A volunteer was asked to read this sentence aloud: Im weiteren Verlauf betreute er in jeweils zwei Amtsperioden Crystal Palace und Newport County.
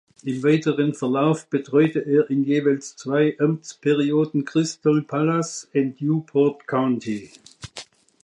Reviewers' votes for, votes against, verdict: 0, 2, rejected